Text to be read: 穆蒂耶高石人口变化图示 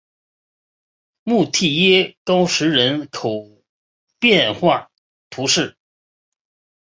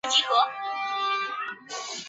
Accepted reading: first